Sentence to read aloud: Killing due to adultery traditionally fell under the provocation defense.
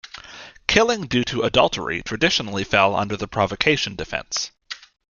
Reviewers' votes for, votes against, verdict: 2, 0, accepted